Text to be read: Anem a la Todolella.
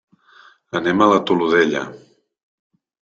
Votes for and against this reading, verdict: 2, 3, rejected